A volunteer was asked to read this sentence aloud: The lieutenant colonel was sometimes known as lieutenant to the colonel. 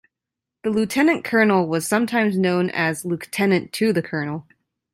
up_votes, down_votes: 2, 0